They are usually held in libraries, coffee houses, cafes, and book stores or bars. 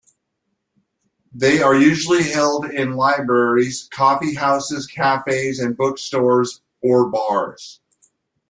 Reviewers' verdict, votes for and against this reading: accepted, 2, 0